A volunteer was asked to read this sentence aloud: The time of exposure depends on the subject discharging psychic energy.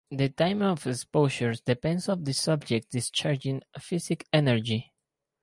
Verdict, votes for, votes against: rejected, 2, 2